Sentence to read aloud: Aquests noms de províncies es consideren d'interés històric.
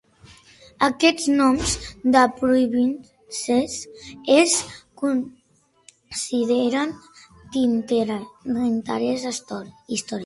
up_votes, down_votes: 0, 2